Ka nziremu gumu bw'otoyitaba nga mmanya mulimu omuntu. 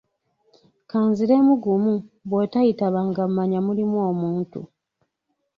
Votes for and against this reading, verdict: 2, 0, accepted